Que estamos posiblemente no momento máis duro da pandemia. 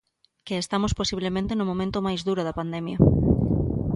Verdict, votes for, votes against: accepted, 2, 0